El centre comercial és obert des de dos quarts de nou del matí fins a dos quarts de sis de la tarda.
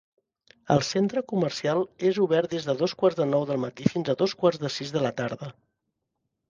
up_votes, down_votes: 3, 0